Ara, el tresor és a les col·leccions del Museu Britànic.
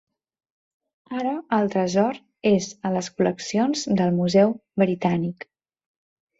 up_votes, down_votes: 3, 0